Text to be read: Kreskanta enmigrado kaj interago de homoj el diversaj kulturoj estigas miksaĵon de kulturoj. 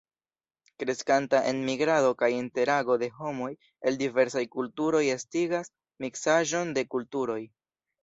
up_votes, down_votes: 2, 0